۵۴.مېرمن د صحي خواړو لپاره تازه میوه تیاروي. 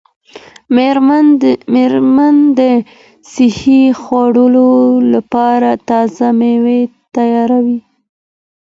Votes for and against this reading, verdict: 0, 2, rejected